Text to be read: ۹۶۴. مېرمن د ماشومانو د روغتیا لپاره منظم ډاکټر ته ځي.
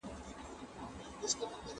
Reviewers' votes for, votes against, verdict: 0, 2, rejected